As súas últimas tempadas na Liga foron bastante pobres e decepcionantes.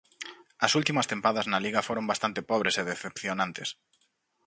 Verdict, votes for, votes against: rejected, 2, 4